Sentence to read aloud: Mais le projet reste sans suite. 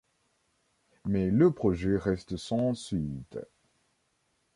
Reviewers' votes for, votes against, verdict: 2, 1, accepted